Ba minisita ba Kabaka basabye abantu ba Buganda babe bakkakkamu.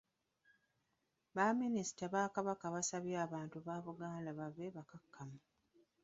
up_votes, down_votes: 1, 2